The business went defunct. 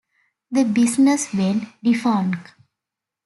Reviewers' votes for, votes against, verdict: 2, 1, accepted